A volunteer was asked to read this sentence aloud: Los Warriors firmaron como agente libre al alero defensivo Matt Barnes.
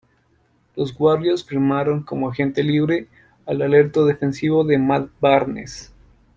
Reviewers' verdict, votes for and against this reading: rejected, 0, 2